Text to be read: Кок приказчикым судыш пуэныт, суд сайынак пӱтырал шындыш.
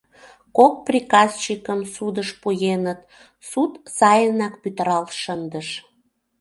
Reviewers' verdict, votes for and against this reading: accepted, 2, 0